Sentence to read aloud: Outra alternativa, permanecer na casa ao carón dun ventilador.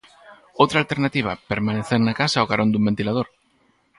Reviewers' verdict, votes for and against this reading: rejected, 0, 4